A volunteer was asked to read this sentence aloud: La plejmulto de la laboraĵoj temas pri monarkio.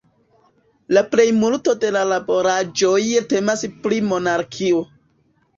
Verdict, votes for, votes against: rejected, 0, 2